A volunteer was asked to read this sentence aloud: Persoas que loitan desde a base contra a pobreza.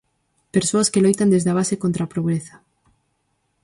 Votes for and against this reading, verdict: 0, 4, rejected